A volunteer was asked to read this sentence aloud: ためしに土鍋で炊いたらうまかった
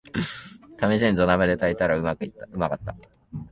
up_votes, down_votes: 0, 2